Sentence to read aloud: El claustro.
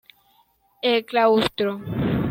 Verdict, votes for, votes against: accepted, 2, 0